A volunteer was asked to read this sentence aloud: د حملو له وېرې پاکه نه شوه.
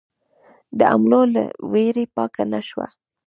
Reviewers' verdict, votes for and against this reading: accepted, 2, 0